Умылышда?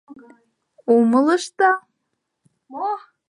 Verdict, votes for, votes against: rejected, 1, 2